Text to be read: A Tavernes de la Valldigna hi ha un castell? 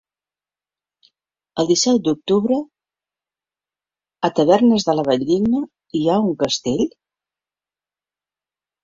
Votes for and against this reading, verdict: 0, 2, rejected